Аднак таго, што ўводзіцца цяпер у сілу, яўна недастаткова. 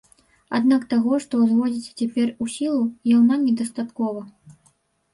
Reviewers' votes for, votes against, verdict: 1, 2, rejected